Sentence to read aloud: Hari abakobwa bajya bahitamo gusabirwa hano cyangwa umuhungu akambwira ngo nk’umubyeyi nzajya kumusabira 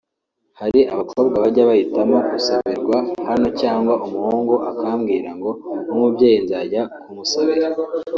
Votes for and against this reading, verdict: 2, 0, accepted